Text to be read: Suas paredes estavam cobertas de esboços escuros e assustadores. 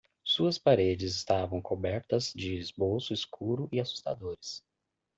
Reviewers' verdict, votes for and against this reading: rejected, 1, 2